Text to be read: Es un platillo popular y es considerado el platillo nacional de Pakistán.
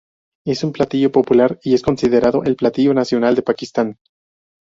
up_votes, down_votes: 4, 0